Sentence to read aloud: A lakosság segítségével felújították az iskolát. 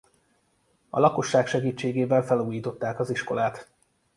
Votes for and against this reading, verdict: 2, 0, accepted